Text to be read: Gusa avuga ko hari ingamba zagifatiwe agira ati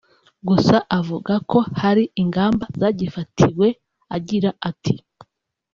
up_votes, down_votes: 1, 2